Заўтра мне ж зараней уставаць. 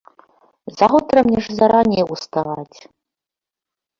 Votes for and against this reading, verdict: 1, 2, rejected